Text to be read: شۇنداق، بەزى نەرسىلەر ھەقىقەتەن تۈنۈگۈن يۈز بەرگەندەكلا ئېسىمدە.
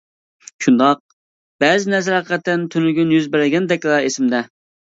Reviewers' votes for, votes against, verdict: 1, 2, rejected